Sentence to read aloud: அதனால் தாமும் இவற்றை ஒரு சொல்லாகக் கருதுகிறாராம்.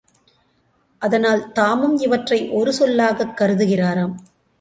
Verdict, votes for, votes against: accepted, 3, 0